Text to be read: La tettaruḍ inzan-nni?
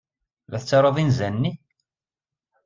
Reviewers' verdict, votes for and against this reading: accepted, 2, 0